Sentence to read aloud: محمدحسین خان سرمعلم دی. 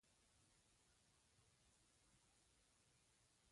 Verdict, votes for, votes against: rejected, 0, 2